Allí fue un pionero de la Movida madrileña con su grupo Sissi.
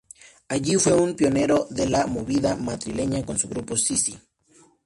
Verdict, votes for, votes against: accepted, 2, 0